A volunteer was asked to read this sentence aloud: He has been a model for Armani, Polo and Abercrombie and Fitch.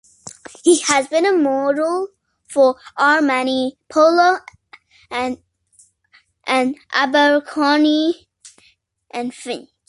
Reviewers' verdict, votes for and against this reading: accepted, 2, 1